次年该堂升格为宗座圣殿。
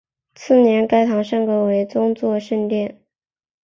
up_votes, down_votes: 2, 0